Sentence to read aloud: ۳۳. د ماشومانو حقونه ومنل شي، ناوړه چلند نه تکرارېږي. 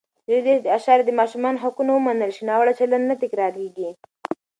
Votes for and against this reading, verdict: 0, 2, rejected